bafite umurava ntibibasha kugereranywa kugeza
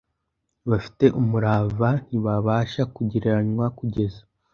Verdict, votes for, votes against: accepted, 2, 0